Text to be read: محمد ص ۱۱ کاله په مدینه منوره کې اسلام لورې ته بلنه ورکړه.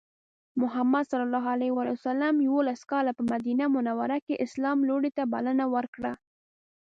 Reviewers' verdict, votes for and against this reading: rejected, 0, 2